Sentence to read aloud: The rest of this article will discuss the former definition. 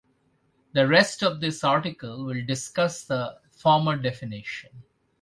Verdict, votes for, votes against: accepted, 2, 0